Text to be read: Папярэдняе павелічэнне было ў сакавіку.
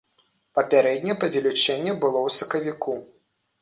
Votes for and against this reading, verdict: 0, 2, rejected